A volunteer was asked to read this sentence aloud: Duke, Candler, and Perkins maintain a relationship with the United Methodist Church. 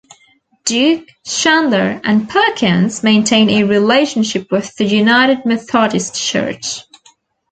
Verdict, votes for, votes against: rejected, 1, 2